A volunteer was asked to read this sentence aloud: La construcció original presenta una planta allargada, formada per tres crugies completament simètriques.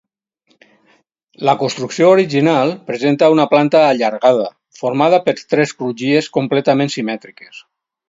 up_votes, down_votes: 4, 0